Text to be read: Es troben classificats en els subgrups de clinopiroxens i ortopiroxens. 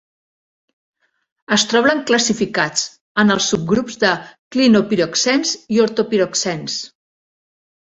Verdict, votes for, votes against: rejected, 0, 2